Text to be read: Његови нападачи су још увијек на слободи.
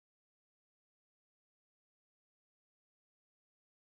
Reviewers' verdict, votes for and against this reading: rejected, 0, 2